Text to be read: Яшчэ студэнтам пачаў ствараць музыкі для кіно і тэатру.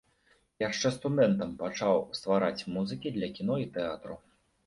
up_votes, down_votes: 2, 0